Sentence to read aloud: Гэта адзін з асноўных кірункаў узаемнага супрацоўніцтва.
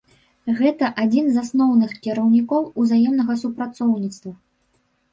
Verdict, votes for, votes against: rejected, 0, 2